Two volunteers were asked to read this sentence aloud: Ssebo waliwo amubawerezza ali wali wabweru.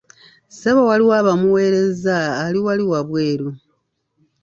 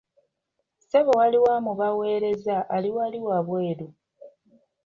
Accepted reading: second